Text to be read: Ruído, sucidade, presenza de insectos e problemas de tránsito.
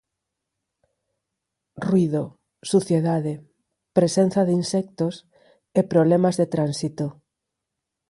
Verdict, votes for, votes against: rejected, 0, 4